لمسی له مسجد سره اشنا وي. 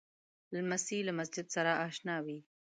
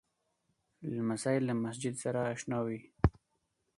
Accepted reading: second